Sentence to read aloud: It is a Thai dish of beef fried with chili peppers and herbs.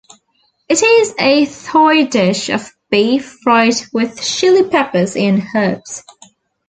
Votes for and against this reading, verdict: 0, 2, rejected